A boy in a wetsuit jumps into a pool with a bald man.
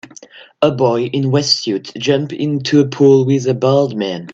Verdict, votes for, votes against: rejected, 1, 2